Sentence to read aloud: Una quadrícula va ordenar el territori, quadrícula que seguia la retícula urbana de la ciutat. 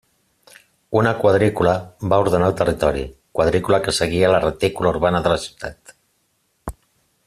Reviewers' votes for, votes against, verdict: 3, 0, accepted